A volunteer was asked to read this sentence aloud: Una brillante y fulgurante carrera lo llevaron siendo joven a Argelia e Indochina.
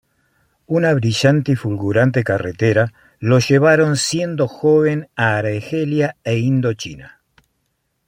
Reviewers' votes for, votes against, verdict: 0, 2, rejected